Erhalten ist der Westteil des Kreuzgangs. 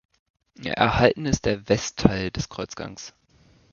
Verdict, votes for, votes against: accepted, 2, 1